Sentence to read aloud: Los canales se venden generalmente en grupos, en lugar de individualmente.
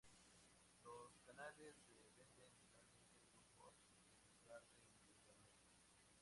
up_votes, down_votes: 0, 2